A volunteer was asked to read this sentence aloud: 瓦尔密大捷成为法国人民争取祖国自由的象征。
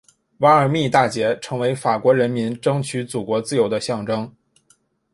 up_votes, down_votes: 2, 0